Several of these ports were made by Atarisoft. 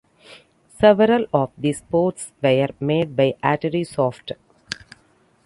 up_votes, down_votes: 2, 0